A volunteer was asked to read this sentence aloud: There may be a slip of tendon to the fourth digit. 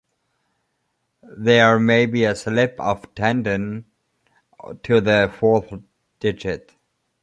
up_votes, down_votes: 2, 0